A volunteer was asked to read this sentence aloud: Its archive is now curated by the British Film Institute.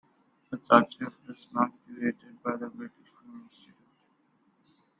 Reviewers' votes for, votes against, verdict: 2, 1, accepted